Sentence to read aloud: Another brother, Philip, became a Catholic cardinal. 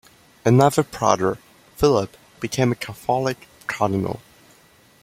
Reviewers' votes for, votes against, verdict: 0, 2, rejected